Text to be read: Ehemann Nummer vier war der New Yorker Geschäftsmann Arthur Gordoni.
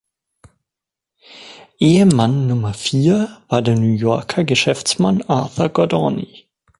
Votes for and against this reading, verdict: 2, 0, accepted